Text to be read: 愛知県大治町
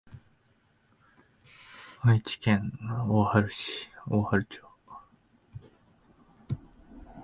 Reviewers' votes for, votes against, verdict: 0, 5, rejected